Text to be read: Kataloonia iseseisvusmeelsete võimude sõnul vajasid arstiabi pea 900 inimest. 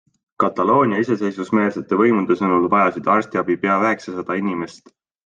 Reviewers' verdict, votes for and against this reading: rejected, 0, 2